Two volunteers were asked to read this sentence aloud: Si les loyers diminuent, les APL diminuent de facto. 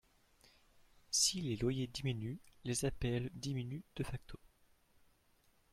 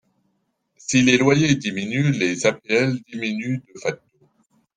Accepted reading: first